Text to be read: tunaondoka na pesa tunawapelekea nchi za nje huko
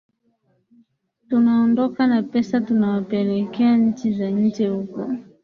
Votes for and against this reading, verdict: 2, 0, accepted